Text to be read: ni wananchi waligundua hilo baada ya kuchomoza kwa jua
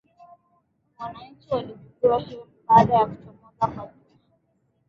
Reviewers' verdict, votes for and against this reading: rejected, 0, 2